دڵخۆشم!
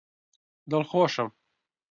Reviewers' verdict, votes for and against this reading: accepted, 2, 0